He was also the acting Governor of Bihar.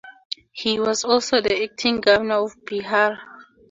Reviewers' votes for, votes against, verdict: 2, 0, accepted